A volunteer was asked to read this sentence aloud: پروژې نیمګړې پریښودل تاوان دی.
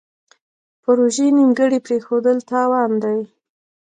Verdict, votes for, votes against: accepted, 2, 0